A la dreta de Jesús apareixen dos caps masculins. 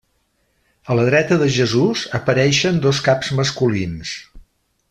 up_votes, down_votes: 3, 0